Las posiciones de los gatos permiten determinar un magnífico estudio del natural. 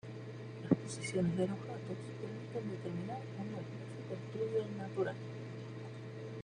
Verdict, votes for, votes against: accepted, 2, 1